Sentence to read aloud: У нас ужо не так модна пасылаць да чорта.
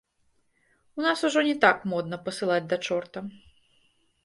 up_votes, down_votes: 2, 0